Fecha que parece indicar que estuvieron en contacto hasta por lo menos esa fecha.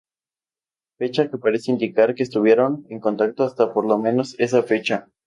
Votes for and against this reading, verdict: 4, 0, accepted